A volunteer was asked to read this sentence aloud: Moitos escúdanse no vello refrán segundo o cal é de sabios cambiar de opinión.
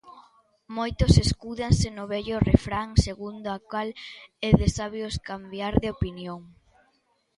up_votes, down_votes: 1, 2